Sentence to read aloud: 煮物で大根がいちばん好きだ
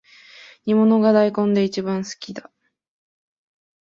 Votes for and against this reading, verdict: 1, 2, rejected